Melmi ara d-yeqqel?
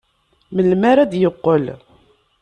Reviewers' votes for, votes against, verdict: 2, 0, accepted